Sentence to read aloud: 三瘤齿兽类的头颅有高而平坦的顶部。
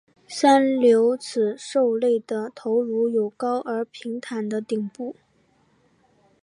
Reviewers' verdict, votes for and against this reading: accepted, 2, 0